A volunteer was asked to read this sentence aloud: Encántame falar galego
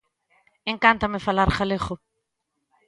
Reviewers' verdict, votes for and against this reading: accepted, 2, 0